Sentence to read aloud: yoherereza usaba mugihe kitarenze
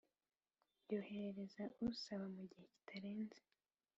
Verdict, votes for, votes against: rejected, 1, 2